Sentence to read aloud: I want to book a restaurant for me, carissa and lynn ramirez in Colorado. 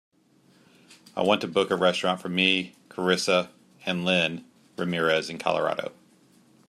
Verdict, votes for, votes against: accepted, 2, 0